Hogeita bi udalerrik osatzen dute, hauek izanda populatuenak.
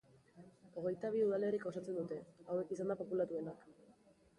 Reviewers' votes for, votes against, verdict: 1, 3, rejected